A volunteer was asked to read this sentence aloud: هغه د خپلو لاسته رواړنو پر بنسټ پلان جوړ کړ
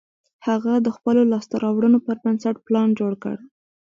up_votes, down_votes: 1, 2